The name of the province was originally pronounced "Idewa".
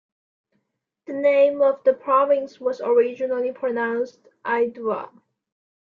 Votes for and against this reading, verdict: 2, 1, accepted